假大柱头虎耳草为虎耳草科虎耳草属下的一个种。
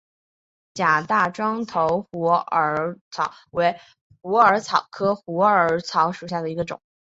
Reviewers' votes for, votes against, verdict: 2, 1, accepted